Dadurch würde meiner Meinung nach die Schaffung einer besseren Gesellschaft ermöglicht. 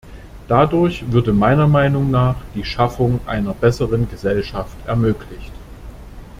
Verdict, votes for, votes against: accepted, 2, 0